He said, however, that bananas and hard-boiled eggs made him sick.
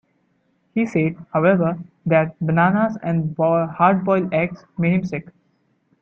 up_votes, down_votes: 0, 2